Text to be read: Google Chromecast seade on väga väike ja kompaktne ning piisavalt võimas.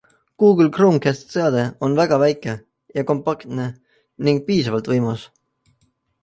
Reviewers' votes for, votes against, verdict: 2, 0, accepted